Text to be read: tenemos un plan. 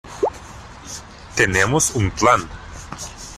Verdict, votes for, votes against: accepted, 2, 0